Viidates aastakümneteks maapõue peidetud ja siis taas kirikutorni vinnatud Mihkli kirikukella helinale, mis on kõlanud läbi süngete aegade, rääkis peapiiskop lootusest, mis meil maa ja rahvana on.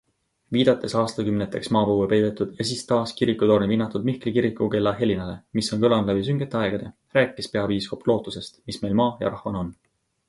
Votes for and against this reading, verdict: 3, 0, accepted